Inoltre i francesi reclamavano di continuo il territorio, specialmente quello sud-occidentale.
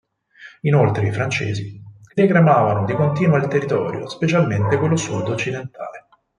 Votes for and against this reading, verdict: 2, 4, rejected